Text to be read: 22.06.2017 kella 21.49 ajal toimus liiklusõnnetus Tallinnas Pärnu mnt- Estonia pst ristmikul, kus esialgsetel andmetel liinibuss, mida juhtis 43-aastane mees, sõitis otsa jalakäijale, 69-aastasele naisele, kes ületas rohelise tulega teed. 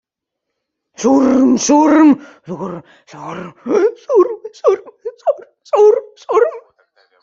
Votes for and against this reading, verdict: 0, 2, rejected